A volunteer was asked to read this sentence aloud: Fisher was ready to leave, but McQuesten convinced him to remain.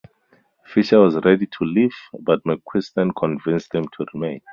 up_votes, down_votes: 4, 0